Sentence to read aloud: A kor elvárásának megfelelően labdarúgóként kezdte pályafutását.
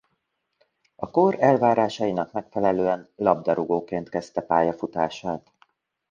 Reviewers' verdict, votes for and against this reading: rejected, 1, 2